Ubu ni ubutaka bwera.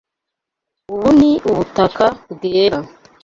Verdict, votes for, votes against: accepted, 2, 0